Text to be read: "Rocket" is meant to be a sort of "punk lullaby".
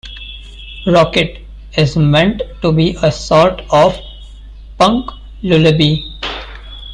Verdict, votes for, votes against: rejected, 1, 2